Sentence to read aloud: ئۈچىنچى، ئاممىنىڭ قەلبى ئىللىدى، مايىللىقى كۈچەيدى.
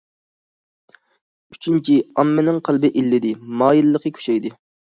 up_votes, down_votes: 2, 0